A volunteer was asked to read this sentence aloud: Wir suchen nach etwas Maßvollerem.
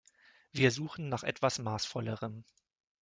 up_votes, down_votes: 2, 0